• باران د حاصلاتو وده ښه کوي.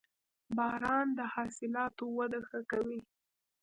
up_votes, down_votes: 1, 2